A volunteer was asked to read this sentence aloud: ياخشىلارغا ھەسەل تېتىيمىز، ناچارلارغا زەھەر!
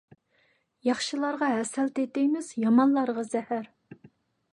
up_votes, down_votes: 0, 2